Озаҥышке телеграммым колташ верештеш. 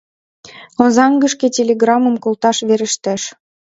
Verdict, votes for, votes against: rejected, 0, 2